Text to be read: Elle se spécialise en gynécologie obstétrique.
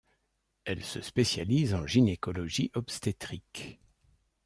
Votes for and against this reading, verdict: 2, 0, accepted